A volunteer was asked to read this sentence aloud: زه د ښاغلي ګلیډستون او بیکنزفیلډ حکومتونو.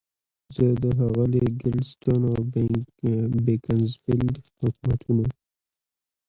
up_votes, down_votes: 2, 0